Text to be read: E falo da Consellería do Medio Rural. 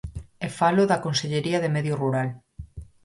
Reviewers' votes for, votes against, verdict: 2, 4, rejected